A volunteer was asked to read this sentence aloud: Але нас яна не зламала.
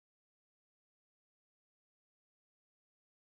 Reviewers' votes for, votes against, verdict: 0, 2, rejected